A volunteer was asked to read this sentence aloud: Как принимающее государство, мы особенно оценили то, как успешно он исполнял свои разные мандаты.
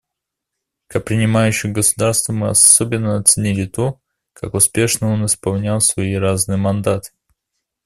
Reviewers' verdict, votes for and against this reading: accepted, 2, 0